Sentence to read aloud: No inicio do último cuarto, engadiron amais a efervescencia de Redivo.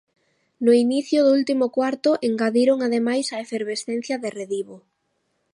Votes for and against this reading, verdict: 1, 2, rejected